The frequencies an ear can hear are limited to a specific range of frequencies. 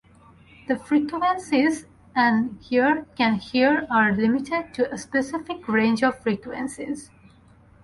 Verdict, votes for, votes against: rejected, 0, 2